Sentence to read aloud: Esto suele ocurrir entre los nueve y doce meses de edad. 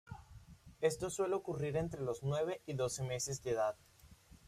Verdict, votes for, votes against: rejected, 1, 2